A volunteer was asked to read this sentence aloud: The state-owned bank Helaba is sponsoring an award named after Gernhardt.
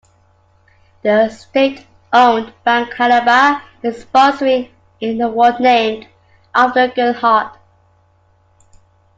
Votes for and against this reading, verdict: 2, 1, accepted